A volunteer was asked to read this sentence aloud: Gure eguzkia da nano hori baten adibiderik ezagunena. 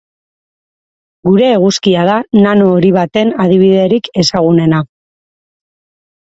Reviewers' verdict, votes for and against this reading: accepted, 4, 2